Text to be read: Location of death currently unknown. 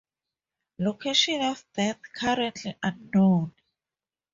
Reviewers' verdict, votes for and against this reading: accepted, 4, 0